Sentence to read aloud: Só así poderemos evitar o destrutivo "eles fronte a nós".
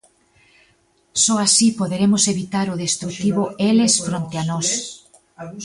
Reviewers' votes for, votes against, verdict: 1, 2, rejected